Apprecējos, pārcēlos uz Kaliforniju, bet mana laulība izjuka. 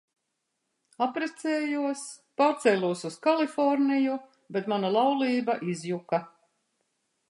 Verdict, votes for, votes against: rejected, 1, 2